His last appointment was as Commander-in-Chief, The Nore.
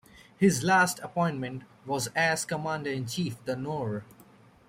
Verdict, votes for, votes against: accepted, 2, 0